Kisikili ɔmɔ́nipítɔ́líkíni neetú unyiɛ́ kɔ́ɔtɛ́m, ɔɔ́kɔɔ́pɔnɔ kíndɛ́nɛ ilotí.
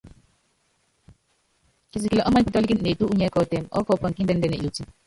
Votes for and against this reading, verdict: 0, 3, rejected